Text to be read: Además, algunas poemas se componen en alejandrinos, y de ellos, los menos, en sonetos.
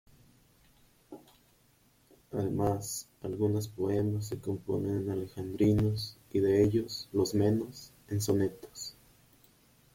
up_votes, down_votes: 0, 2